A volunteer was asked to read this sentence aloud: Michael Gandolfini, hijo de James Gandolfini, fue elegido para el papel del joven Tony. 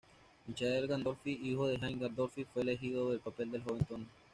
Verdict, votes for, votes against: rejected, 1, 2